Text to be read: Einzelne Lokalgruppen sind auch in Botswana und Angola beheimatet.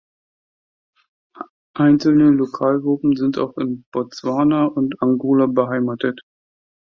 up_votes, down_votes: 2, 0